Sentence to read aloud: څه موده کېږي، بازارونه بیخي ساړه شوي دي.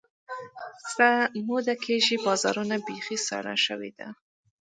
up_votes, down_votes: 2, 1